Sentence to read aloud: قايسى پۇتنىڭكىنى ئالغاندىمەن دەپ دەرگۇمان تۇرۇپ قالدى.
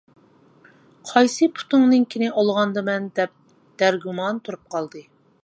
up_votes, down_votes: 1, 2